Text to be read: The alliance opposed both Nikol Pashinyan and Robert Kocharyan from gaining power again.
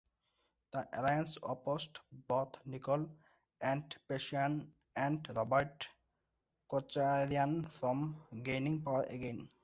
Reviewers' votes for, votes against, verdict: 1, 2, rejected